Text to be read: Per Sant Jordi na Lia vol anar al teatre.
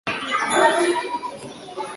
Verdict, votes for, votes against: rejected, 0, 2